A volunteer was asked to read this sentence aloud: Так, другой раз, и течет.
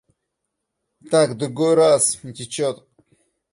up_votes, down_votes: 0, 2